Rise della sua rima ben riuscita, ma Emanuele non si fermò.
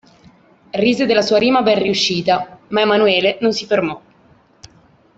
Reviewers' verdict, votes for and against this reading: accepted, 2, 0